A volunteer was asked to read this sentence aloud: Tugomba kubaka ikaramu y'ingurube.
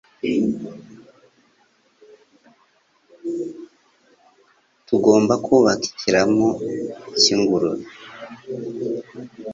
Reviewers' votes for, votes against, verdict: 1, 2, rejected